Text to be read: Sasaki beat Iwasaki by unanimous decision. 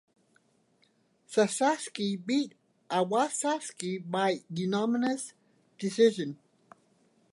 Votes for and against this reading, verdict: 1, 2, rejected